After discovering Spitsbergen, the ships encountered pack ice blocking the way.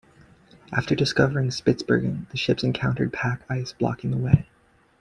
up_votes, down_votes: 2, 0